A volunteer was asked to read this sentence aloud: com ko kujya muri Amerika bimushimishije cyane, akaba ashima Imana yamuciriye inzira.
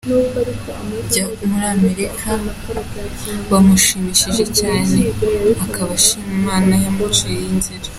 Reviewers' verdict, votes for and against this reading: rejected, 1, 2